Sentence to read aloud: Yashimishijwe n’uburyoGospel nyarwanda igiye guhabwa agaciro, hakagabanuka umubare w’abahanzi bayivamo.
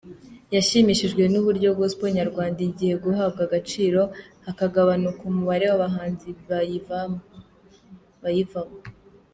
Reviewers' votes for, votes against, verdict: 0, 2, rejected